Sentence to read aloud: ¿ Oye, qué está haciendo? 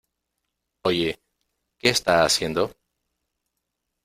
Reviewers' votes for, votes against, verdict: 0, 2, rejected